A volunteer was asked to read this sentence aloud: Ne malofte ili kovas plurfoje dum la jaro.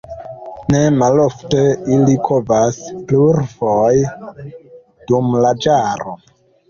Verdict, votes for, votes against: rejected, 0, 2